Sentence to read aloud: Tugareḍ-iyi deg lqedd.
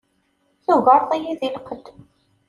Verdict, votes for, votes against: accepted, 2, 0